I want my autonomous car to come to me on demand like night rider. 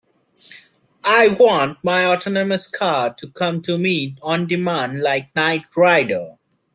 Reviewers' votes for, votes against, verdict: 2, 1, accepted